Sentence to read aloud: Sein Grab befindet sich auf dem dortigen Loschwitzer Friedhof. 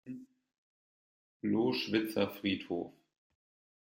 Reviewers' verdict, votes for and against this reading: rejected, 0, 2